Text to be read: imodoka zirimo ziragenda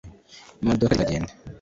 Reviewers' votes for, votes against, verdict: 2, 3, rejected